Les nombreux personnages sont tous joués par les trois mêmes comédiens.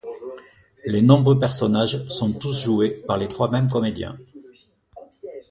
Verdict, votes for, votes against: accepted, 2, 0